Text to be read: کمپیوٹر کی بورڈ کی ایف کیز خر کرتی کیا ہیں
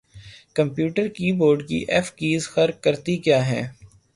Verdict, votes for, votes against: rejected, 3, 3